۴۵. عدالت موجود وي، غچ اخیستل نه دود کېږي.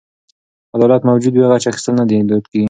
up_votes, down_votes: 0, 2